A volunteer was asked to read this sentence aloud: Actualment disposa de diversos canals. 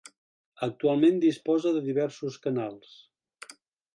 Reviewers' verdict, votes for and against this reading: accepted, 2, 0